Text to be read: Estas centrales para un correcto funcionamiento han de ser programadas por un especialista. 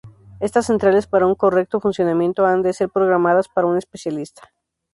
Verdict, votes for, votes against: rejected, 2, 2